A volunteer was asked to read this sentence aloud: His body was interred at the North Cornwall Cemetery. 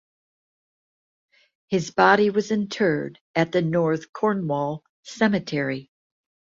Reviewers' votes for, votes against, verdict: 2, 0, accepted